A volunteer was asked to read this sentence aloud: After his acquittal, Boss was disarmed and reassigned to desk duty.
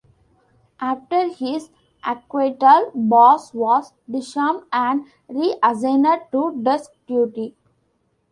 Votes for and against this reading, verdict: 0, 2, rejected